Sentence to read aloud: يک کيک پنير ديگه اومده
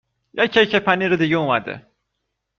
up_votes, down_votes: 2, 0